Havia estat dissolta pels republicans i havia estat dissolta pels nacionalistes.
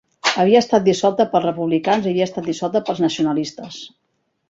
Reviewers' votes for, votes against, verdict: 2, 0, accepted